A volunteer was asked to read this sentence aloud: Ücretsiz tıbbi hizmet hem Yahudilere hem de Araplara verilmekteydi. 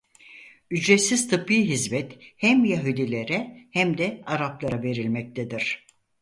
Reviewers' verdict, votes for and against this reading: rejected, 0, 4